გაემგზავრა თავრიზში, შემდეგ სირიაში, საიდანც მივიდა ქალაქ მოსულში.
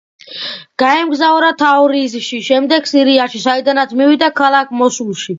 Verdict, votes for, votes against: accepted, 2, 0